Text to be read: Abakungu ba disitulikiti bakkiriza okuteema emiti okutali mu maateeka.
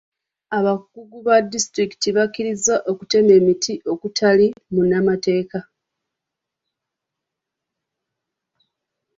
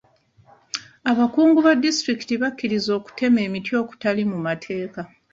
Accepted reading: second